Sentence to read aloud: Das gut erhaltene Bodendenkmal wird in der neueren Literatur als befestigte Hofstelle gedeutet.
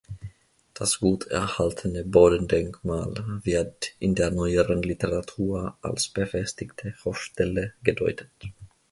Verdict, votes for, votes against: accepted, 2, 0